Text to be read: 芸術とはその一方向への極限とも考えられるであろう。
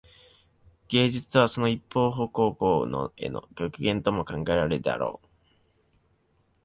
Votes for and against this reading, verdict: 0, 2, rejected